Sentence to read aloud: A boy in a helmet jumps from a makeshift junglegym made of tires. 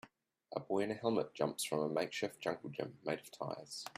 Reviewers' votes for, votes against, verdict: 2, 0, accepted